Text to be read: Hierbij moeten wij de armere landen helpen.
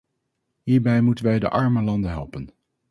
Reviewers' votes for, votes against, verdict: 0, 2, rejected